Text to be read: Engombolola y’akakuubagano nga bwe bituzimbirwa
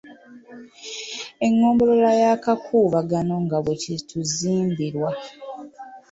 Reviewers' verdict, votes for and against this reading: accepted, 2, 0